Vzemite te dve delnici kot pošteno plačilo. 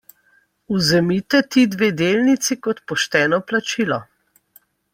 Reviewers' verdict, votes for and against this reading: accepted, 2, 0